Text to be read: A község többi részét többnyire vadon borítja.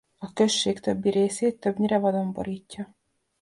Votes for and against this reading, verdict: 2, 0, accepted